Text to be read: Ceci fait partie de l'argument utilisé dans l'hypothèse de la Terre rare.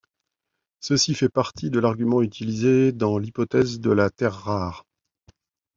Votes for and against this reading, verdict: 2, 0, accepted